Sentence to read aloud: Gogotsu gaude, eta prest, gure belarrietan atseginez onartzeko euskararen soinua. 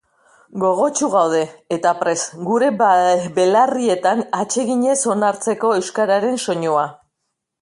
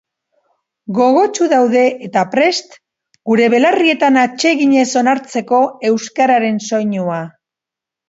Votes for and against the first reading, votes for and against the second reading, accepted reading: 1, 3, 3, 2, second